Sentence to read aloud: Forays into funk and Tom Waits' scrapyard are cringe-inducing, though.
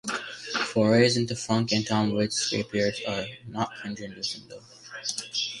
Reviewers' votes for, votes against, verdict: 0, 2, rejected